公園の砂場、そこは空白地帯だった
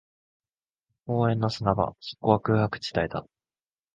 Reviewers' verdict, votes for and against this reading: rejected, 1, 2